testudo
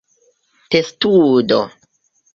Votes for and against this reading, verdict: 1, 2, rejected